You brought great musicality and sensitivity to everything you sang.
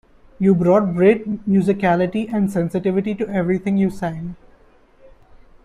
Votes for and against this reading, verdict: 2, 0, accepted